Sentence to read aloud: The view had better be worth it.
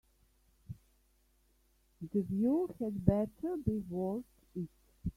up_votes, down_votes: 0, 2